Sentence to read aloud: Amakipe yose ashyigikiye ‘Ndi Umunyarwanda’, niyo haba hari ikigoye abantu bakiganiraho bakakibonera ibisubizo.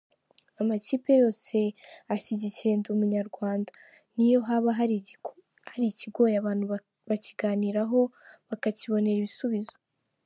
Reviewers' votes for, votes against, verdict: 0, 2, rejected